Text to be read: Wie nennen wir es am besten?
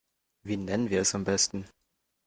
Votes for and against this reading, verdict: 2, 0, accepted